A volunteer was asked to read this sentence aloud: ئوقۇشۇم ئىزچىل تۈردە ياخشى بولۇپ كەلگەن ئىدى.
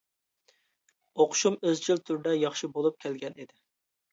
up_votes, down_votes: 2, 0